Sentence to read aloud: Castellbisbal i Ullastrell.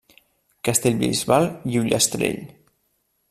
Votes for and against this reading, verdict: 0, 2, rejected